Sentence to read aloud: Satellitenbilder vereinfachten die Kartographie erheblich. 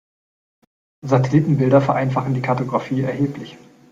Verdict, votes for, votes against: accepted, 3, 2